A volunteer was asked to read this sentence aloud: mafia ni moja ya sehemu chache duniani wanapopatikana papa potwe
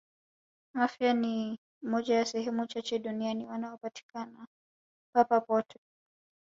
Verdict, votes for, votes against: rejected, 0, 2